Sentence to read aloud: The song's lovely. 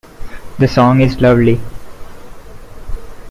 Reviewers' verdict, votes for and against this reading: accepted, 2, 1